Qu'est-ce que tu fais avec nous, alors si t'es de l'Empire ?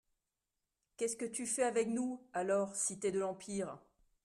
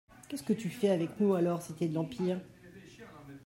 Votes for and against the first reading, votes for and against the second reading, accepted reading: 2, 0, 0, 2, first